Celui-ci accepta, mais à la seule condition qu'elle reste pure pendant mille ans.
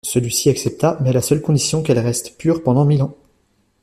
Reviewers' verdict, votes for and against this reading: rejected, 1, 2